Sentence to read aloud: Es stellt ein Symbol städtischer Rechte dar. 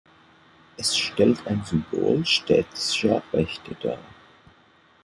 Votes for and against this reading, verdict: 1, 2, rejected